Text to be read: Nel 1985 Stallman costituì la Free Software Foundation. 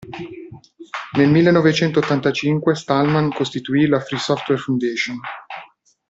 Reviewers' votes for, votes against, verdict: 0, 2, rejected